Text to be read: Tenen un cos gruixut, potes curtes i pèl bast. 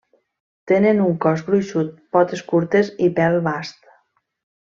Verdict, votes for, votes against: accepted, 2, 0